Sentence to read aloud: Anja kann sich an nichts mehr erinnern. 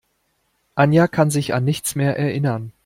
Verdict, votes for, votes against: accepted, 2, 0